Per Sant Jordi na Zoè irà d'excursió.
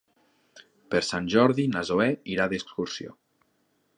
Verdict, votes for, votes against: accepted, 5, 0